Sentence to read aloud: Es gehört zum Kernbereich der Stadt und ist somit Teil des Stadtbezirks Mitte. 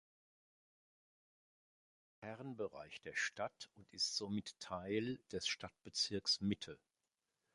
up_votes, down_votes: 0, 2